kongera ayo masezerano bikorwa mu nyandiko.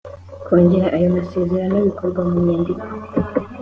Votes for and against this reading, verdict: 2, 0, accepted